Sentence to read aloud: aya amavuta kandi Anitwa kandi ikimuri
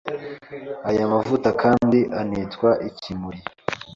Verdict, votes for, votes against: rejected, 0, 2